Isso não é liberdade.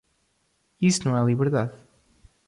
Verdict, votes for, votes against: rejected, 1, 2